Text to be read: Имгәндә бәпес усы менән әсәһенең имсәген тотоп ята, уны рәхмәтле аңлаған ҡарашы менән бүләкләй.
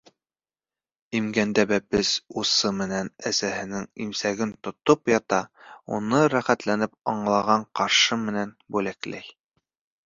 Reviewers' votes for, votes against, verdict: 1, 2, rejected